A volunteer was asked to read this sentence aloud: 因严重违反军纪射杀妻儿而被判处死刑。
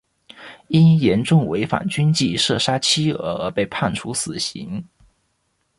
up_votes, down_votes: 2, 0